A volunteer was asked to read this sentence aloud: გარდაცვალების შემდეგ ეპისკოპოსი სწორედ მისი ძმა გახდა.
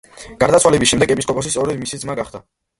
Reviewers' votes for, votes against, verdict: 1, 2, rejected